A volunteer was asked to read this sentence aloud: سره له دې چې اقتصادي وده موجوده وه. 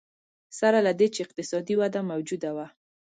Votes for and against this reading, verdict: 2, 0, accepted